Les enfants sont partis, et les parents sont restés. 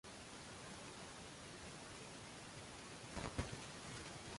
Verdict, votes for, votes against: rejected, 0, 2